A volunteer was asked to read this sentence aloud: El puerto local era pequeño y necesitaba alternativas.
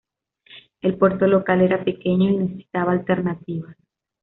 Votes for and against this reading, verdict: 2, 0, accepted